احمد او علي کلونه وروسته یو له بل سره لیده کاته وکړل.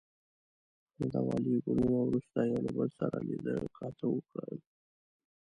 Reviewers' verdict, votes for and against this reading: rejected, 1, 2